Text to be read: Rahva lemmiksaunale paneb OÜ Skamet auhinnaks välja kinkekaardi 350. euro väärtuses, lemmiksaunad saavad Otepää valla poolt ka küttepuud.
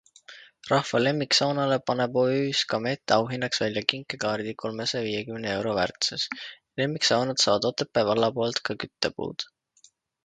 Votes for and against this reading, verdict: 0, 2, rejected